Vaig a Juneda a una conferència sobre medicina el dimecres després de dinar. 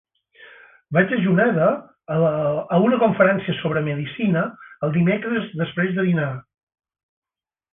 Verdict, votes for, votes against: rejected, 2, 4